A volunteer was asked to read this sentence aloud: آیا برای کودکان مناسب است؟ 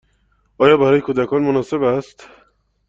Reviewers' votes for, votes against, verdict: 2, 0, accepted